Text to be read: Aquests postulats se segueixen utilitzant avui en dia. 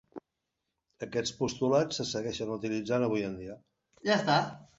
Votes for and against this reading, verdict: 1, 2, rejected